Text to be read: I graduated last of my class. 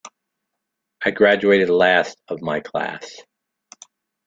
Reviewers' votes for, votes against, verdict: 2, 0, accepted